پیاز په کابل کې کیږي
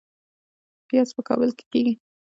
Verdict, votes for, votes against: accepted, 2, 0